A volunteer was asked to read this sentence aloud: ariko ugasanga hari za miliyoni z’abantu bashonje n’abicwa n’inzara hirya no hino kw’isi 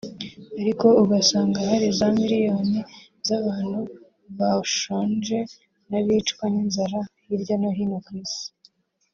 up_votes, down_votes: 2, 0